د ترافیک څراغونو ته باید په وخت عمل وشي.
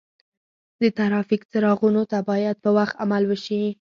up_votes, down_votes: 4, 0